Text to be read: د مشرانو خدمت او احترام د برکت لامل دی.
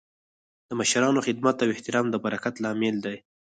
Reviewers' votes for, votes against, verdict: 4, 0, accepted